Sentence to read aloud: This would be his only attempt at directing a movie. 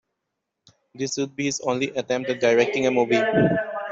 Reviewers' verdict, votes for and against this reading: rejected, 1, 2